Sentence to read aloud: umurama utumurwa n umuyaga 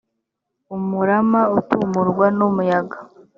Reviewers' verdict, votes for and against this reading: accepted, 4, 0